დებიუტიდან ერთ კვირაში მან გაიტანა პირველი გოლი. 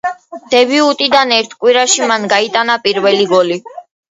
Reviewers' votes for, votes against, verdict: 2, 1, accepted